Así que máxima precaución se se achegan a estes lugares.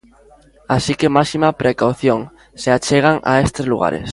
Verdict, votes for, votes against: rejected, 0, 2